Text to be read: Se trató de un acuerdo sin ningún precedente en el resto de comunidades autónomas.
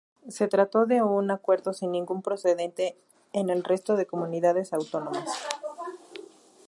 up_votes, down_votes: 2, 2